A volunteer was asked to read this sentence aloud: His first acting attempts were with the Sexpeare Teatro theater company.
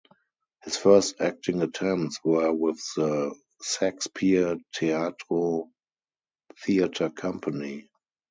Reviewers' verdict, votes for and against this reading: rejected, 0, 2